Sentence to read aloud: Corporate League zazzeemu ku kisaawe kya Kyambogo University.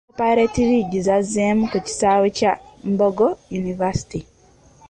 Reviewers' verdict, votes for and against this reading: rejected, 1, 2